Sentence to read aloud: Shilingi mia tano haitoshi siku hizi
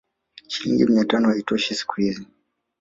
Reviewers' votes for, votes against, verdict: 1, 2, rejected